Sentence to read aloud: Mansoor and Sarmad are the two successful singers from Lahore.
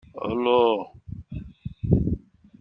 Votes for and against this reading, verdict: 0, 2, rejected